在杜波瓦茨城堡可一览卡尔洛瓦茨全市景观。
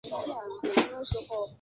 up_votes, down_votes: 3, 5